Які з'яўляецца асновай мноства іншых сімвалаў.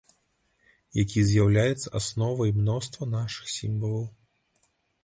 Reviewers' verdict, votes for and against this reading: rejected, 0, 2